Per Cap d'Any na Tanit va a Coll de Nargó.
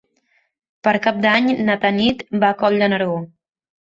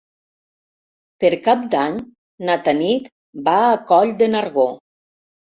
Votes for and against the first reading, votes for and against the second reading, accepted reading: 1, 2, 3, 0, second